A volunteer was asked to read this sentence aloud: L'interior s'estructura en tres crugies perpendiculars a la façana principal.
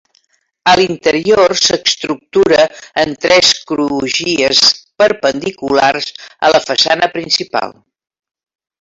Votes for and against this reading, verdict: 0, 4, rejected